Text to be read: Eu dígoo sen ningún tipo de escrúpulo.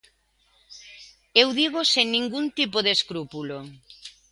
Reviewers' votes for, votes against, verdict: 2, 0, accepted